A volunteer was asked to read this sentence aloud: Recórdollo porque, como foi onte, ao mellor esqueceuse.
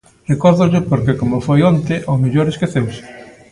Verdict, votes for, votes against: accepted, 2, 0